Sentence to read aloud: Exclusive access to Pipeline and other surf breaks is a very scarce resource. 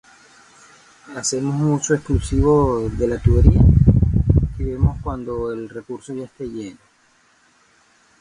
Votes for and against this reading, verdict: 0, 2, rejected